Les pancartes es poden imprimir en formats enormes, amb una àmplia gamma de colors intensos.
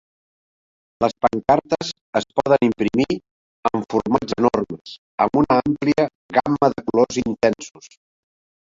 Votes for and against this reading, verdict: 0, 2, rejected